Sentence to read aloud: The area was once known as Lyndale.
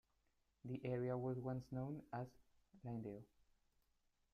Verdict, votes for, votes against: rejected, 1, 2